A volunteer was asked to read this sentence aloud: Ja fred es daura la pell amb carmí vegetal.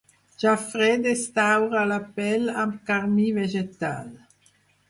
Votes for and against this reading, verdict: 6, 0, accepted